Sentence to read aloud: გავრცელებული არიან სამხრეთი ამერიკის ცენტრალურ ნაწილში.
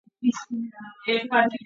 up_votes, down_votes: 0, 2